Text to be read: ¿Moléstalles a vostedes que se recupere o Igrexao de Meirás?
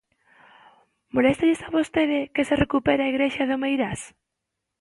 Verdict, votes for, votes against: rejected, 0, 2